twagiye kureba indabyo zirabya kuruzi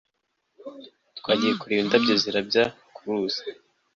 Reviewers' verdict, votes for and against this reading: accepted, 2, 0